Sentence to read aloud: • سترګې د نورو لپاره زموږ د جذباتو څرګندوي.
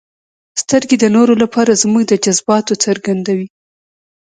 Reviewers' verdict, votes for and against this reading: rejected, 1, 2